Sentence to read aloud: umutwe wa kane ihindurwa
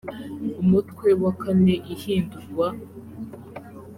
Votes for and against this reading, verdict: 2, 0, accepted